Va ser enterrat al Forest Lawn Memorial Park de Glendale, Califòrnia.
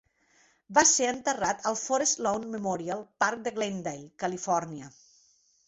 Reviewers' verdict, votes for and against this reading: accepted, 3, 0